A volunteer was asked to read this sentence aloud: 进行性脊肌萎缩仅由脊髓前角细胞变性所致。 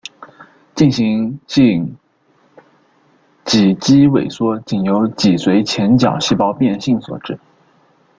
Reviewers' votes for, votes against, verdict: 2, 0, accepted